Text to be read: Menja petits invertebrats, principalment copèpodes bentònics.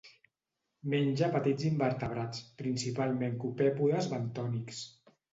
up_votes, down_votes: 2, 0